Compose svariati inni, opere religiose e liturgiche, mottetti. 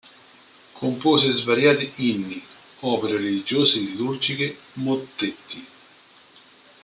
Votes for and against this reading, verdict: 0, 2, rejected